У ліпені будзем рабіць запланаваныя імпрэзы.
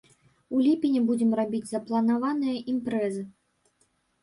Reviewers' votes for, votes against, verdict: 2, 0, accepted